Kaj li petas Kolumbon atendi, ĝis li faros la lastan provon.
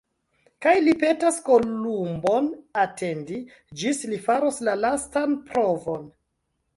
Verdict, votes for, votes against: rejected, 1, 2